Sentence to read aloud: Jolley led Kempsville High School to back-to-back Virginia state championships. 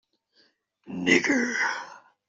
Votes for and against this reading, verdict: 0, 2, rejected